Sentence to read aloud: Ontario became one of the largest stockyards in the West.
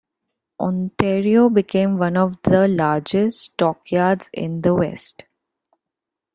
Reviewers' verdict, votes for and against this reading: accepted, 2, 0